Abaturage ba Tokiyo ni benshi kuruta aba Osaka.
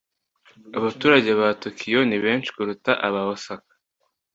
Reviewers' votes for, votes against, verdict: 2, 0, accepted